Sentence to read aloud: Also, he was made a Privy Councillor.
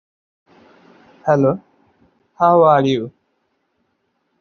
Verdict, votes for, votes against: rejected, 0, 2